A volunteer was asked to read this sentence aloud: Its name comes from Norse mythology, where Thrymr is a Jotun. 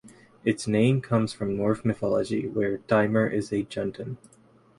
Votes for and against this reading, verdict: 0, 4, rejected